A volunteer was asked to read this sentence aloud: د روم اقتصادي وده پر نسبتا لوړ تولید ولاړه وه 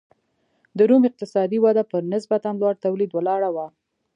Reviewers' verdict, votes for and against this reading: rejected, 0, 2